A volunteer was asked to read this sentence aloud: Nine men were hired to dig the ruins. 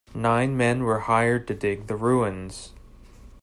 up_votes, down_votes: 2, 0